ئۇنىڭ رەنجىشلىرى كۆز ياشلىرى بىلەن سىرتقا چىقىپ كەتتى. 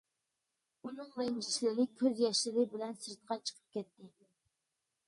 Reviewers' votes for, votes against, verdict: 1, 2, rejected